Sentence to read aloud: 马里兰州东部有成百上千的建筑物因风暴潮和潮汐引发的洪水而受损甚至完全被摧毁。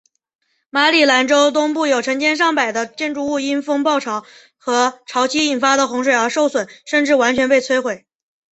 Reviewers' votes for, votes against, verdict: 3, 1, accepted